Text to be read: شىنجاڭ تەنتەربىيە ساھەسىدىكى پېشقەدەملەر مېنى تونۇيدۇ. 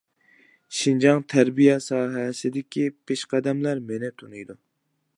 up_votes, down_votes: 0, 2